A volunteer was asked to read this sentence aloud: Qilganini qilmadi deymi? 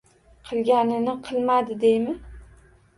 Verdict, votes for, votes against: accepted, 2, 0